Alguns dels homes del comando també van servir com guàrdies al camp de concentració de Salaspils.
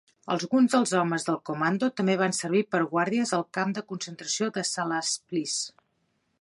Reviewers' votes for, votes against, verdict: 0, 2, rejected